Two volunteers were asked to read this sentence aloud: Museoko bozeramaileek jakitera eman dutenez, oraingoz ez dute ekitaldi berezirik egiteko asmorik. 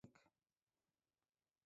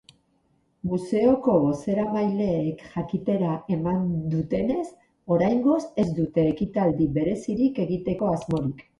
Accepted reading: second